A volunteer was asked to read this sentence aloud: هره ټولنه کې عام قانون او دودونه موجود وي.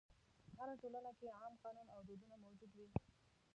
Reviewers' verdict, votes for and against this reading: rejected, 1, 2